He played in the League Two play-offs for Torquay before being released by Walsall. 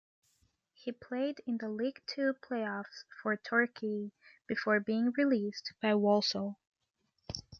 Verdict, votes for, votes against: rejected, 1, 2